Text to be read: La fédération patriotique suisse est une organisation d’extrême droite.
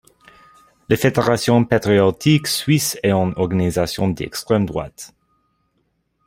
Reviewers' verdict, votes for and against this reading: accepted, 2, 0